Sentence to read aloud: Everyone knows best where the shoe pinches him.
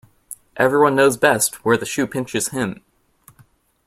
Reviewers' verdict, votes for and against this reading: accepted, 2, 0